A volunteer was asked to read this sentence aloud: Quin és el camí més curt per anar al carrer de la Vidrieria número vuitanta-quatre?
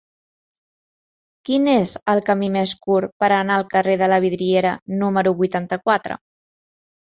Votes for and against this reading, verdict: 0, 2, rejected